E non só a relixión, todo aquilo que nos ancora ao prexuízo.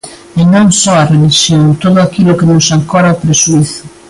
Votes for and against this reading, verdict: 3, 1, accepted